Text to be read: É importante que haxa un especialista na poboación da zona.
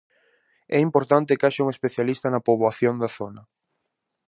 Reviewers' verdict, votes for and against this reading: accepted, 2, 0